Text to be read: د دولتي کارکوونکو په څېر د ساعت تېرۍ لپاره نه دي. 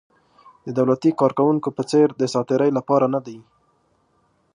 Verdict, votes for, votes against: accepted, 2, 0